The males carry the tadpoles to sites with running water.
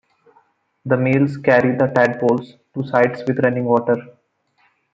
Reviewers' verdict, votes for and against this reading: accepted, 2, 0